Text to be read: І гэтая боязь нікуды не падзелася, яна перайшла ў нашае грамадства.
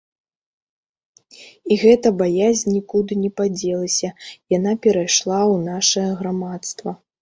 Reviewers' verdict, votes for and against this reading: rejected, 0, 2